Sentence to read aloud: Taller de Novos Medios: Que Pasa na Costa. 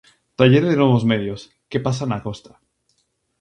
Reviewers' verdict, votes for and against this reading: accepted, 4, 0